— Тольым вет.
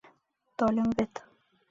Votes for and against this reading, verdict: 1, 4, rejected